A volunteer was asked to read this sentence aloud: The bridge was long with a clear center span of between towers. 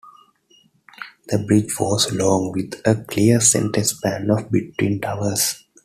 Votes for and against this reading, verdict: 2, 1, accepted